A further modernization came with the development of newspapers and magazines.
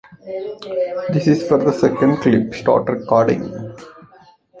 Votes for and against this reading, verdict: 0, 2, rejected